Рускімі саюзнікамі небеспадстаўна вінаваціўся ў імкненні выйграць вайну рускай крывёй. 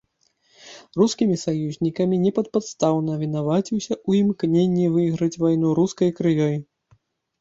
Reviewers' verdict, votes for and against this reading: rejected, 0, 2